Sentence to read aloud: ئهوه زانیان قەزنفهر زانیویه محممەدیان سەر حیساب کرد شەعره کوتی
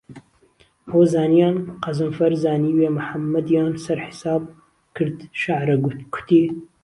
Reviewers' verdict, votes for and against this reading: rejected, 1, 2